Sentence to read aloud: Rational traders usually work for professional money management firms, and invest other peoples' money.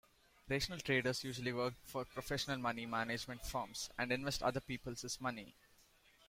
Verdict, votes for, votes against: accepted, 2, 0